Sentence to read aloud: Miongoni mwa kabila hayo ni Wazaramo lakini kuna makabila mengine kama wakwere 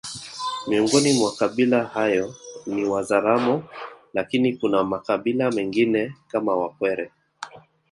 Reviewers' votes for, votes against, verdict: 2, 0, accepted